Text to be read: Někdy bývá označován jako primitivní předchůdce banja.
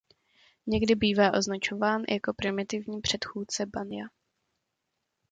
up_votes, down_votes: 1, 2